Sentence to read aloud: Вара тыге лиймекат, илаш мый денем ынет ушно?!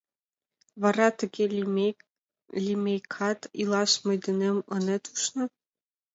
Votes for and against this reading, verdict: 1, 2, rejected